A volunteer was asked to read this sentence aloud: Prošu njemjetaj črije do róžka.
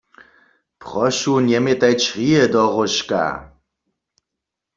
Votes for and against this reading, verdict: 2, 0, accepted